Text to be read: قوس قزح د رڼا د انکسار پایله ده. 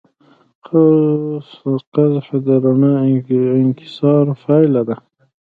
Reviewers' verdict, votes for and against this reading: rejected, 1, 2